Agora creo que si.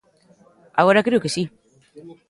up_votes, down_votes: 2, 0